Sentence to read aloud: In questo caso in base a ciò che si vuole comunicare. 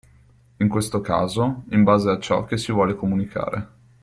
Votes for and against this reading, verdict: 2, 0, accepted